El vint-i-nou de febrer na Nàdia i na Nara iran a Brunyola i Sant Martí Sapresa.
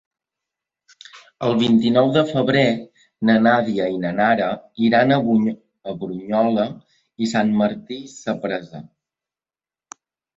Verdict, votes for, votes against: rejected, 0, 3